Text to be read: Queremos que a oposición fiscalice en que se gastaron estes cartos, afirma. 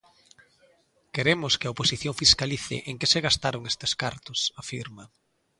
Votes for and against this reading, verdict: 2, 0, accepted